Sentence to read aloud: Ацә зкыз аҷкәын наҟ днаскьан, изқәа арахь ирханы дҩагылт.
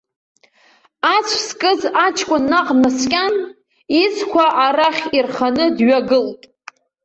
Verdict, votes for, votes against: rejected, 1, 2